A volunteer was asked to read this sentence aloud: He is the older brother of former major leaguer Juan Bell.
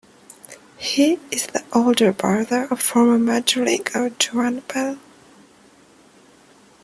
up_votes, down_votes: 1, 2